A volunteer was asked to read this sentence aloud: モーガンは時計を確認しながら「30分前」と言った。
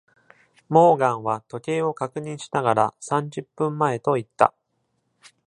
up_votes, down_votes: 0, 2